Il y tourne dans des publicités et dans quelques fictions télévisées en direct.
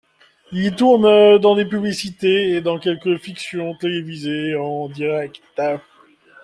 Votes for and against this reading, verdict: 0, 2, rejected